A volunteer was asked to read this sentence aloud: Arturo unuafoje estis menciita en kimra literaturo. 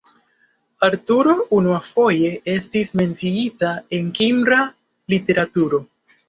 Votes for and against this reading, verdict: 2, 0, accepted